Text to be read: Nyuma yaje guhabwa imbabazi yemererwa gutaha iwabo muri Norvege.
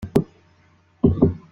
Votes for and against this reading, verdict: 0, 3, rejected